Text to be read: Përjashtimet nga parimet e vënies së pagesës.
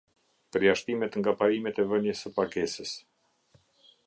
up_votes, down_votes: 2, 0